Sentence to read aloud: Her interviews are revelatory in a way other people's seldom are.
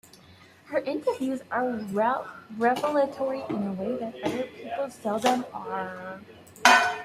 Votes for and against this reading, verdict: 2, 1, accepted